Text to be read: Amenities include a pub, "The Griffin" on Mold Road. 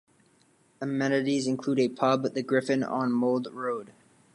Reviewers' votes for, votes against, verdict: 2, 0, accepted